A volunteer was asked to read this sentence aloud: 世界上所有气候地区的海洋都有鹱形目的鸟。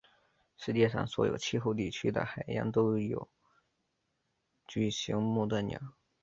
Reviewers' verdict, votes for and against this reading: rejected, 1, 2